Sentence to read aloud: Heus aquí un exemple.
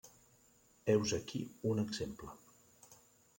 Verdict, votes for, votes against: accepted, 3, 1